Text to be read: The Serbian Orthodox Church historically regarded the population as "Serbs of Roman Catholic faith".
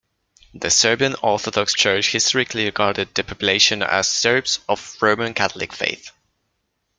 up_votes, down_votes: 2, 0